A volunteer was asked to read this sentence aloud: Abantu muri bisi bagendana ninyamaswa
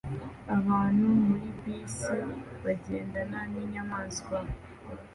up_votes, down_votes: 2, 0